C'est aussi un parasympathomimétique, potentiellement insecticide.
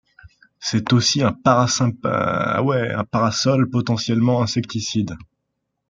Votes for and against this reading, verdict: 0, 2, rejected